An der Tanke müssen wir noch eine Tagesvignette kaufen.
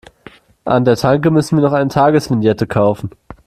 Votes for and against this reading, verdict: 0, 2, rejected